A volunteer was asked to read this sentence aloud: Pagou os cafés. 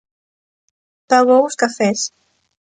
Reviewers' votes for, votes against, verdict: 2, 0, accepted